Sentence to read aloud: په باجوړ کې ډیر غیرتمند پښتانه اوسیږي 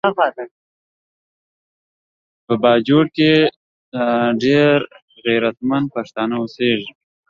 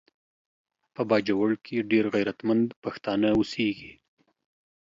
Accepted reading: second